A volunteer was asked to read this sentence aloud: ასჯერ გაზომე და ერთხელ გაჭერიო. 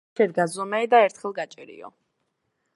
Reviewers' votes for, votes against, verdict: 2, 1, accepted